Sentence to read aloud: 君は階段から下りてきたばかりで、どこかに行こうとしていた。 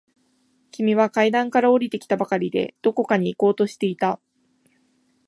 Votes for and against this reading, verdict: 2, 0, accepted